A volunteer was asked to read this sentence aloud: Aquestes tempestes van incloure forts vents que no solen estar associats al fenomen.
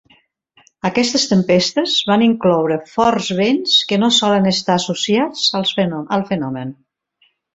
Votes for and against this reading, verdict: 0, 2, rejected